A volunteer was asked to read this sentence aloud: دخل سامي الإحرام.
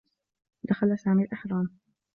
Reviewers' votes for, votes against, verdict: 1, 2, rejected